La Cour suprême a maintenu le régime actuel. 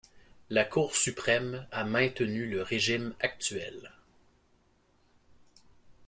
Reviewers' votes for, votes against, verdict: 2, 1, accepted